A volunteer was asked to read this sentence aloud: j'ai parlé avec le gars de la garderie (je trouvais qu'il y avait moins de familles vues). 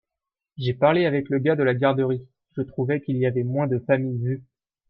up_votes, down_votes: 2, 1